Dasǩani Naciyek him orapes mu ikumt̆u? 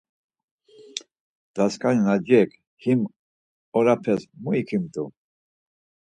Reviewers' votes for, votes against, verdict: 2, 4, rejected